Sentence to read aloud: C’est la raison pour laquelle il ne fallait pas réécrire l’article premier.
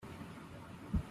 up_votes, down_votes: 0, 2